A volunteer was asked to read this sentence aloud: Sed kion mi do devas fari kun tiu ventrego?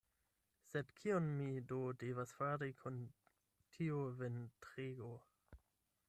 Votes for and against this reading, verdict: 4, 8, rejected